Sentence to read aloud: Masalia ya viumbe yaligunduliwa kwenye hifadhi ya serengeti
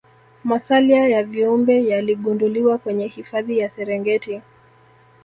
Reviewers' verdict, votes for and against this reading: accepted, 2, 0